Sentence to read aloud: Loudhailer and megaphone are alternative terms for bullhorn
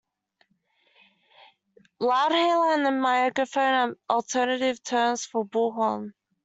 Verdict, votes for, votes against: rejected, 0, 2